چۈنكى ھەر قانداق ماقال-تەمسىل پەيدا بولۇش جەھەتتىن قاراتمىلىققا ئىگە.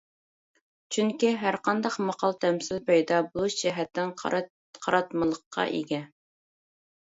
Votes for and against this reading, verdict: 0, 2, rejected